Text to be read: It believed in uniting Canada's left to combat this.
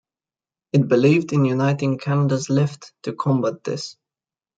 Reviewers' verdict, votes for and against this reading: accepted, 2, 0